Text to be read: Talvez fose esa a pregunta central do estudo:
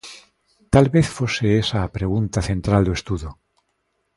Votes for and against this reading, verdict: 3, 0, accepted